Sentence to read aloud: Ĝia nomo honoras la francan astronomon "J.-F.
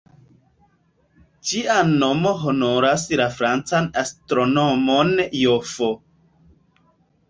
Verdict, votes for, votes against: rejected, 0, 2